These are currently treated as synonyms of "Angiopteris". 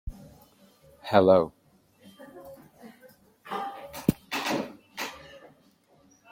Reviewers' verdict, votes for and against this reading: rejected, 0, 2